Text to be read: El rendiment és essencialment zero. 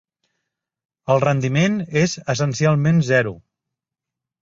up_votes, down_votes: 3, 0